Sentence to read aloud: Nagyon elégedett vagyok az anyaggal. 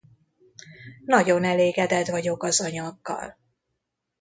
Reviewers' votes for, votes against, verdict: 2, 0, accepted